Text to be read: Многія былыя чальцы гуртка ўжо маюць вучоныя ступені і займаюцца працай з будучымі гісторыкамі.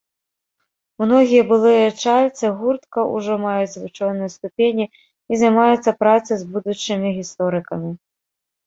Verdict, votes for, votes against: rejected, 1, 2